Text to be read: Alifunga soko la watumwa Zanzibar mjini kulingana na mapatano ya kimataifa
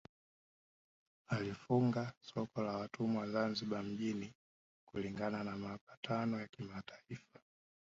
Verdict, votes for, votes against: rejected, 1, 2